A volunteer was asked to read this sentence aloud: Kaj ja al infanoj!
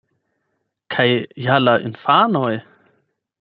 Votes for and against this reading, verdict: 4, 8, rejected